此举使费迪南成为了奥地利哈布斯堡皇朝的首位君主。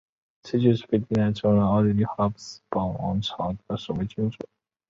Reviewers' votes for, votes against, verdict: 5, 1, accepted